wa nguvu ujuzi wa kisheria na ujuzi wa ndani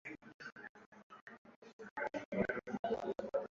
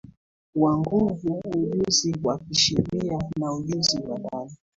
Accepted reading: second